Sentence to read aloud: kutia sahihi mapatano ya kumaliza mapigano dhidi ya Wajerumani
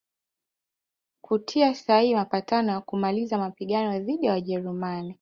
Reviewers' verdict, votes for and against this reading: rejected, 1, 2